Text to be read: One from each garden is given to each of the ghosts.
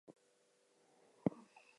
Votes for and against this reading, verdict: 0, 2, rejected